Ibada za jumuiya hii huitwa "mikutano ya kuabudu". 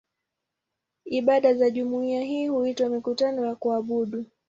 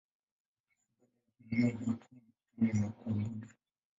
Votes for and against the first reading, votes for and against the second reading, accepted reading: 2, 0, 0, 2, first